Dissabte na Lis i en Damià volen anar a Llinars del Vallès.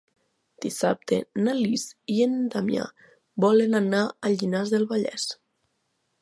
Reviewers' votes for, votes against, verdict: 3, 0, accepted